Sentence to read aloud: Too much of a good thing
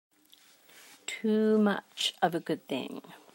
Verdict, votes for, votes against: accepted, 2, 0